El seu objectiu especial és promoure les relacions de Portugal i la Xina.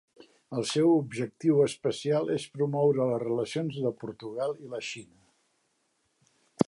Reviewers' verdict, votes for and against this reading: accepted, 2, 0